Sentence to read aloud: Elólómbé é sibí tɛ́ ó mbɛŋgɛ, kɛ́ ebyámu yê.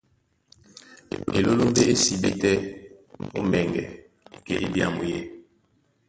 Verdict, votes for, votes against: rejected, 1, 2